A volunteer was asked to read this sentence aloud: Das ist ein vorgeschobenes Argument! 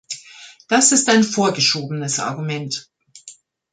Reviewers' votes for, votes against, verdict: 2, 0, accepted